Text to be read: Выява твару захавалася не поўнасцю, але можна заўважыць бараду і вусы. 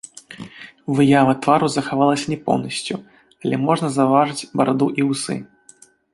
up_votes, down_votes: 2, 1